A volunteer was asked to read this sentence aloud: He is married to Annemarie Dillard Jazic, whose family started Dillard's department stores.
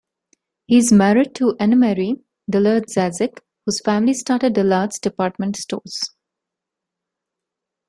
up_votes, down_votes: 1, 2